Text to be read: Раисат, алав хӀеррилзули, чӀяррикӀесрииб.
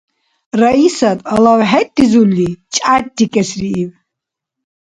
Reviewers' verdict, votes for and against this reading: rejected, 1, 2